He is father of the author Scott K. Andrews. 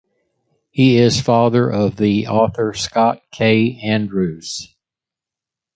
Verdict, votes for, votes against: accepted, 2, 0